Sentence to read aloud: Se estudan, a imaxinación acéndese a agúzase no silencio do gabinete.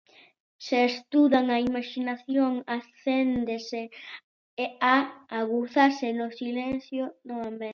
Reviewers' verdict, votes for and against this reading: rejected, 0, 2